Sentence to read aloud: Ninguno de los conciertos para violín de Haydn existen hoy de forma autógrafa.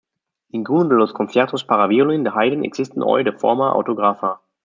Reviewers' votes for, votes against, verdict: 2, 1, accepted